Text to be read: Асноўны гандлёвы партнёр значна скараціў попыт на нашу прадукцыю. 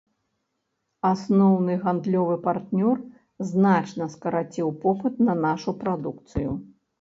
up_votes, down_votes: 2, 0